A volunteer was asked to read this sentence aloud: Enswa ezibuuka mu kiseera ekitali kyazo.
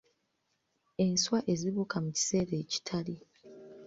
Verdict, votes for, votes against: rejected, 0, 2